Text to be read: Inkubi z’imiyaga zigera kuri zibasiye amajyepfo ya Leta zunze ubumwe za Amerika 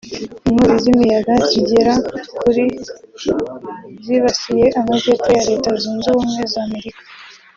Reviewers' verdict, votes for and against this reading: rejected, 0, 2